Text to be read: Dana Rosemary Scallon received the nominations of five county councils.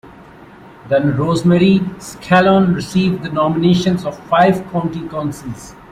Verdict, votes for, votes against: accepted, 2, 0